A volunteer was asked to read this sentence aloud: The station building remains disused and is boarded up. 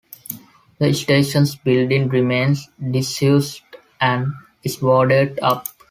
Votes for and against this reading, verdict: 0, 2, rejected